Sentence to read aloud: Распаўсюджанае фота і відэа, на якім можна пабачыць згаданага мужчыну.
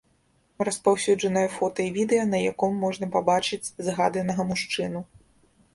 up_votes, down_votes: 0, 2